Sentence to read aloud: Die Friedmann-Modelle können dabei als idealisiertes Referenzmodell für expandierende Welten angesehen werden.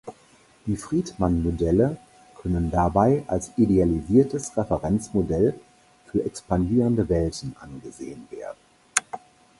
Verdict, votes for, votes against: accepted, 4, 0